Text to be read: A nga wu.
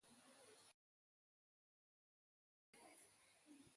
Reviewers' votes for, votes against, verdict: 0, 2, rejected